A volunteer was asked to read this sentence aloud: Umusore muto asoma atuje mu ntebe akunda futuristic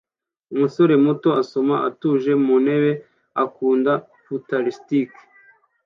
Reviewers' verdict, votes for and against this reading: accepted, 2, 0